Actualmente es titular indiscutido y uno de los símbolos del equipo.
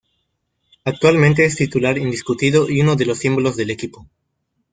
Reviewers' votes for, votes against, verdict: 2, 1, accepted